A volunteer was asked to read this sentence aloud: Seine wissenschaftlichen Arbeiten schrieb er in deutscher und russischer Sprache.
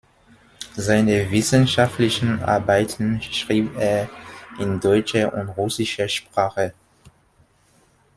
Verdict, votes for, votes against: accepted, 2, 0